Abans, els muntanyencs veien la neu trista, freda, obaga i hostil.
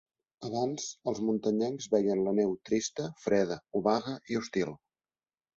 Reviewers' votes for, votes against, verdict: 2, 0, accepted